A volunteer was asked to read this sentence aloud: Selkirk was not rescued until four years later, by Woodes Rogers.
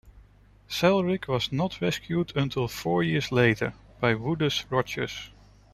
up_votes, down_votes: 1, 2